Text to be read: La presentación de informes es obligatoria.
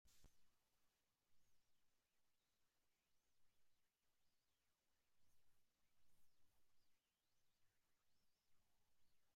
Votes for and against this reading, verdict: 0, 2, rejected